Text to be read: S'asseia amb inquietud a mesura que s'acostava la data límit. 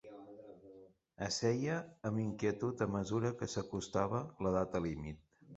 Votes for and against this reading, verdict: 1, 2, rejected